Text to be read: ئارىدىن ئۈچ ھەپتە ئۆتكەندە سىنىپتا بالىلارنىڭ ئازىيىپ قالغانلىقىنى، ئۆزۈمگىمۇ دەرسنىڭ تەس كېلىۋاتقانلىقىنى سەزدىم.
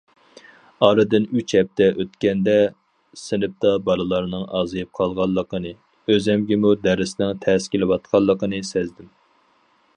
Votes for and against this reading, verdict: 4, 2, accepted